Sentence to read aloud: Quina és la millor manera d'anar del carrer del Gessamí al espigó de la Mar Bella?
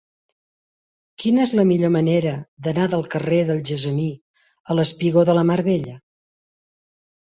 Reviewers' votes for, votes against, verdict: 2, 0, accepted